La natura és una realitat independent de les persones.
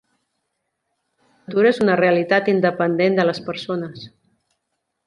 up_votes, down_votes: 0, 2